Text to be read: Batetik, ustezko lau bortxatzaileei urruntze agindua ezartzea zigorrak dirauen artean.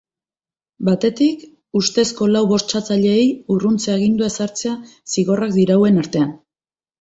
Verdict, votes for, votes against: accepted, 2, 0